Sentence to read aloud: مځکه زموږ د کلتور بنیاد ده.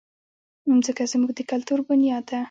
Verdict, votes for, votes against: accepted, 2, 1